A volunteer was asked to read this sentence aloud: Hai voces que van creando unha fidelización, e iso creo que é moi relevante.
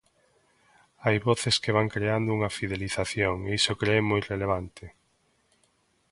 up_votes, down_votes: 0, 2